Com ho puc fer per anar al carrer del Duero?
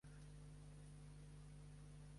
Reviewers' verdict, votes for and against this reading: rejected, 0, 2